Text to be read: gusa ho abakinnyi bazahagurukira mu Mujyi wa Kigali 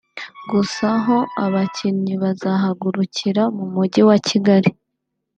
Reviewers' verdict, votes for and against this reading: accepted, 3, 0